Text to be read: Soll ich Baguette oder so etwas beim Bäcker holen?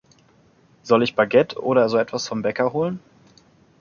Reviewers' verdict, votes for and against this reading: rejected, 0, 2